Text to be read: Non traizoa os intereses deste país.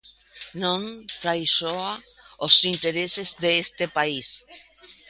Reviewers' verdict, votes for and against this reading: rejected, 1, 2